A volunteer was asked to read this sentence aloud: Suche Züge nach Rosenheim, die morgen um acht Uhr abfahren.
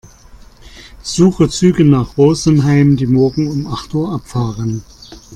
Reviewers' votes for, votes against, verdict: 2, 0, accepted